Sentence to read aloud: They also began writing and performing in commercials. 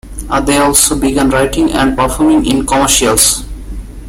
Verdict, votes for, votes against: rejected, 1, 3